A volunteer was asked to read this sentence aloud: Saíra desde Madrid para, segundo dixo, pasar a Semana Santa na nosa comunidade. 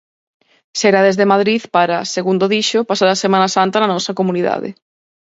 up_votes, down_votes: 0, 4